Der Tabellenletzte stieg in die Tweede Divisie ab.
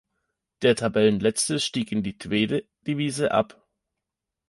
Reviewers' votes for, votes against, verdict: 1, 2, rejected